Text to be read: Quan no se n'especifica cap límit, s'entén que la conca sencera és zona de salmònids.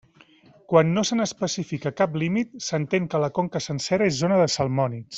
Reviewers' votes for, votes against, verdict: 2, 0, accepted